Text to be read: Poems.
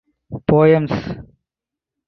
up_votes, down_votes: 4, 0